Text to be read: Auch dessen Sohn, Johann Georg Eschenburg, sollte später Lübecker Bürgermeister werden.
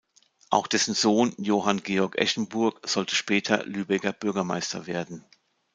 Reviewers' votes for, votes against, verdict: 2, 0, accepted